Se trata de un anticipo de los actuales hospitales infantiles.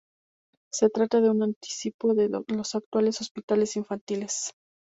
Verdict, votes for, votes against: accepted, 2, 0